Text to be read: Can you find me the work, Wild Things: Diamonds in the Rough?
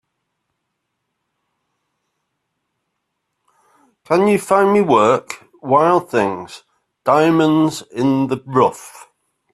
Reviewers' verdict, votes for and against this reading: rejected, 2, 3